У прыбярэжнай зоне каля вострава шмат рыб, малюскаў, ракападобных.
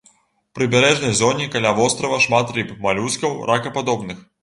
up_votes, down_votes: 2, 0